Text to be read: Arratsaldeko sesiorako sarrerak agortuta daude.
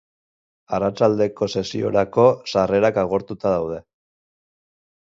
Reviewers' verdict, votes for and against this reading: rejected, 2, 2